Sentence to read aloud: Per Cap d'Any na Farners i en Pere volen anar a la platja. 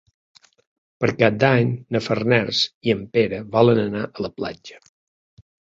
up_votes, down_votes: 3, 0